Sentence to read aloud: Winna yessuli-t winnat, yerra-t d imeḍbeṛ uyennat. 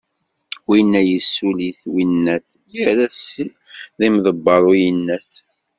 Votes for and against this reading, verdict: 0, 2, rejected